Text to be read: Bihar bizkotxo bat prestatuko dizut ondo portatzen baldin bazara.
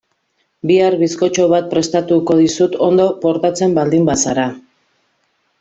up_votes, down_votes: 2, 0